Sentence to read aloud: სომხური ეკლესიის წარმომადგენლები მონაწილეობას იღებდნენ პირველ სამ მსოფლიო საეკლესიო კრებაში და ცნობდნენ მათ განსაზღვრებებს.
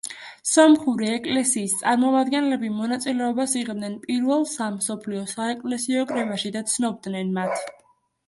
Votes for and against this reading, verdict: 0, 2, rejected